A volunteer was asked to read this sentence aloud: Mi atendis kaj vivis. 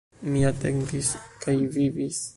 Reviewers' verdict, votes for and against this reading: rejected, 1, 2